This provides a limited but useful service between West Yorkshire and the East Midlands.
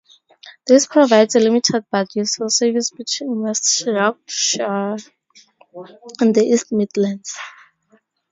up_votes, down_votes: 2, 0